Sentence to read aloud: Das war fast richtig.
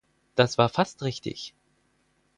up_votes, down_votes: 4, 0